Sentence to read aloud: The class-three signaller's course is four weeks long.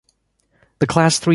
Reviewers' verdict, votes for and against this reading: rejected, 0, 2